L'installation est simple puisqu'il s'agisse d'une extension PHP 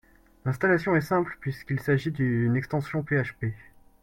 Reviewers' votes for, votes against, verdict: 0, 2, rejected